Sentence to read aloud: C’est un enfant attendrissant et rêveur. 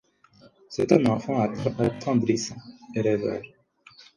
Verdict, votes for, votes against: rejected, 2, 4